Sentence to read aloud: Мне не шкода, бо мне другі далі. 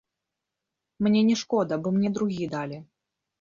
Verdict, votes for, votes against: rejected, 1, 2